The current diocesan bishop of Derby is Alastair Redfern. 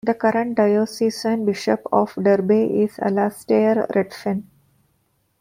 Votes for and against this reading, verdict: 2, 1, accepted